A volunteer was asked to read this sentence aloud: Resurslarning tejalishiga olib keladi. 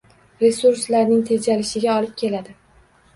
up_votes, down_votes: 2, 0